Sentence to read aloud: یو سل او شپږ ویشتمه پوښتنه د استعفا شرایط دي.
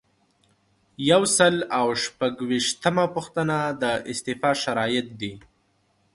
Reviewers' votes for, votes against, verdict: 2, 0, accepted